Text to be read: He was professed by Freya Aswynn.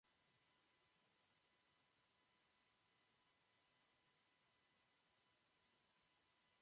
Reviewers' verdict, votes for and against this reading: rejected, 0, 2